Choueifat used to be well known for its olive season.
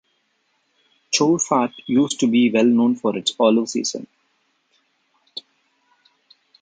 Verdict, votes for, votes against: accepted, 2, 0